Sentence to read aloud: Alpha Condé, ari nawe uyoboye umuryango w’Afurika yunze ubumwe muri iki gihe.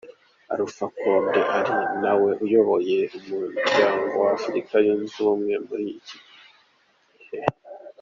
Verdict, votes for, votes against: accepted, 3, 0